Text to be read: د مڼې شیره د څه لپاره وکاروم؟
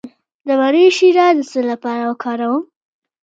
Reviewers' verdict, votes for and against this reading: accepted, 2, 0